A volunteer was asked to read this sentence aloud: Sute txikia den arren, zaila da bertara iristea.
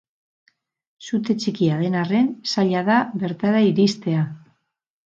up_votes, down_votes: 10, 0